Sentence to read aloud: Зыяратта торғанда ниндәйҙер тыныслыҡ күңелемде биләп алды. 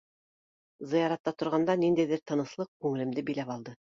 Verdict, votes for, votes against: accepted, 2, 1